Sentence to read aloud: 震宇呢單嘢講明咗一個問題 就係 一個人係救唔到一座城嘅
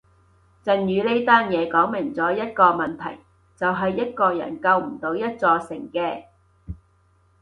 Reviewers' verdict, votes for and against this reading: rejected, 2, 2